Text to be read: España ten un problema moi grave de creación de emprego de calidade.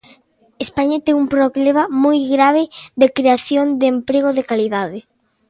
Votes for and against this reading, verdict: 2, 1, accepted